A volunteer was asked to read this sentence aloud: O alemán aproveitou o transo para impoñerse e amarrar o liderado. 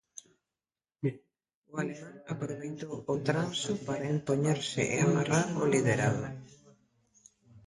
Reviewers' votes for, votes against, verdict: 0, 2, rejected